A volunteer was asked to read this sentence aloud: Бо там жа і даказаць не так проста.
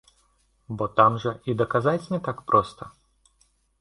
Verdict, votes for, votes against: accepted, 2, 0